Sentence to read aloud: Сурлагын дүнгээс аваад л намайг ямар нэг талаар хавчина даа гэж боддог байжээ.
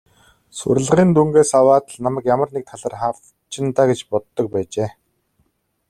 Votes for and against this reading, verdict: 0, 2, rejected